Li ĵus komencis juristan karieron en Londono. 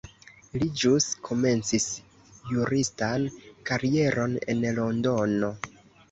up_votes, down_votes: 1, 2